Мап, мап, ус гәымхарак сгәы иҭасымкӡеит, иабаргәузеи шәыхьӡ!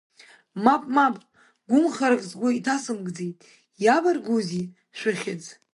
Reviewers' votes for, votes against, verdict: 0, 2, rejected